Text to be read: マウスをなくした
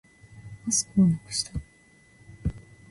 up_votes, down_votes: 2, 0